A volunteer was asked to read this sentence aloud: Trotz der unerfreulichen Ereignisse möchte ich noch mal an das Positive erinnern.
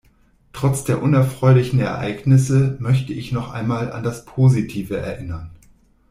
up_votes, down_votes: 0, 2